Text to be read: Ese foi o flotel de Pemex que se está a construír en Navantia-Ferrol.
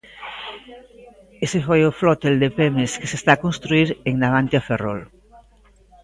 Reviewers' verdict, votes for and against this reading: accepted, 2, 1